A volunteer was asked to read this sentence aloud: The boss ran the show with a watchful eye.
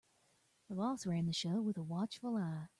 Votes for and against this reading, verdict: 2, 0, accepted